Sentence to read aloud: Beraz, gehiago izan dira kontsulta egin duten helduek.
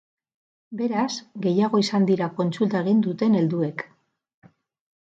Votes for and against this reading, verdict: 2, 4, rejected